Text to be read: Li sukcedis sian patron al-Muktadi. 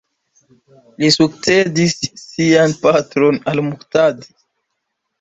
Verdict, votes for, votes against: rejected, 1, 2